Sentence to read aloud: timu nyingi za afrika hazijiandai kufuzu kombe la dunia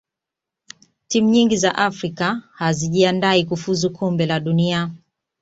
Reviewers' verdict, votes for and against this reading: accepted, 2, 0